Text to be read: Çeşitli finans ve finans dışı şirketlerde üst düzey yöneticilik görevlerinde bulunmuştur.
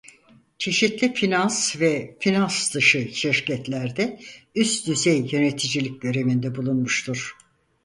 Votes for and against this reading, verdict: 0, 4, rejected